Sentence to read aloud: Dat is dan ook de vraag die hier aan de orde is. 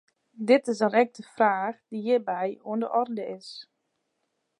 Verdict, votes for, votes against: rejected, 0, 2